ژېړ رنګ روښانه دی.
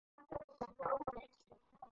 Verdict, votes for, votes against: rejected, 0, 4